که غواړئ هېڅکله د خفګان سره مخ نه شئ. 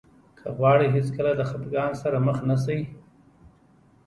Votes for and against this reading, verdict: 2, 0, accepted